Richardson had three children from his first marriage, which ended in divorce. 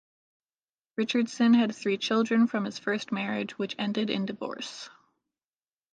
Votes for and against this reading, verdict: 2, 1, accepted